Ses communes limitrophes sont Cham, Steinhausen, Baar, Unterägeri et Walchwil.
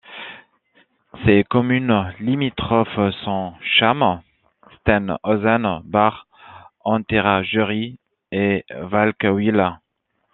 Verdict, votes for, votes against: rejected, 1, 2